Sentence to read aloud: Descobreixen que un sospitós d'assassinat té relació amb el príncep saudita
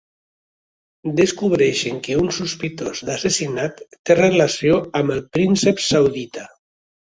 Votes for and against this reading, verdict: 2, 0, accepted